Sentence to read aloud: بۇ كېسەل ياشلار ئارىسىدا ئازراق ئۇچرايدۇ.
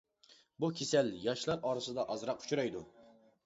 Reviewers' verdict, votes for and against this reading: accepted, 2, 0